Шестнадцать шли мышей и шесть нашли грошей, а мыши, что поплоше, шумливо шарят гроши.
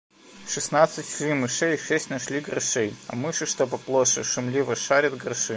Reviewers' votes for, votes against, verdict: 2, 1, accepted